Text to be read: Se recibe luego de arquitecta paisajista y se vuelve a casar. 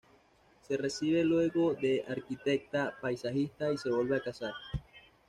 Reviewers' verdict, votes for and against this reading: accepted, 2, 0